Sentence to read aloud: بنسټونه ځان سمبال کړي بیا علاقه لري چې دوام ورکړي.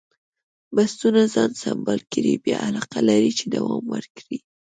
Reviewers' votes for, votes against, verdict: 2, 0, accepted